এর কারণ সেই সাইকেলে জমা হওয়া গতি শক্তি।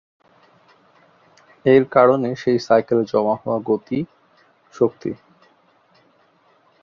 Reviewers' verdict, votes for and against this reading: rejected, 2, 2